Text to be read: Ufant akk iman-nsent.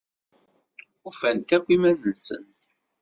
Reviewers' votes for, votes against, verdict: 2, 0, accepted